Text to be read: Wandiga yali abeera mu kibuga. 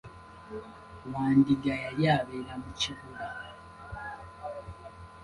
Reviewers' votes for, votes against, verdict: 2, 1, accepted